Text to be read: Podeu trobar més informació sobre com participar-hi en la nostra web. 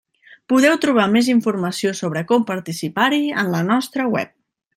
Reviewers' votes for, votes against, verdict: 3, 0, accepted